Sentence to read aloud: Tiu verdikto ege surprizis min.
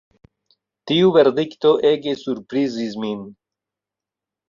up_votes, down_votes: 2, 0